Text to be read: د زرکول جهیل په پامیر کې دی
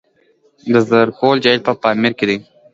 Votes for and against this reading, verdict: 1, 2, rejected